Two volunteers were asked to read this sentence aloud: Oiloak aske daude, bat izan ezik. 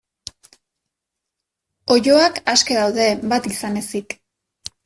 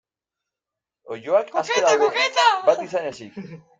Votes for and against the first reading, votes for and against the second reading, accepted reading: 2, 0, 0, 2, first